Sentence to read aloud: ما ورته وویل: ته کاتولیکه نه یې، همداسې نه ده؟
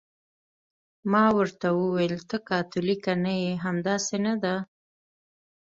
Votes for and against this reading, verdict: 2, 0, accepted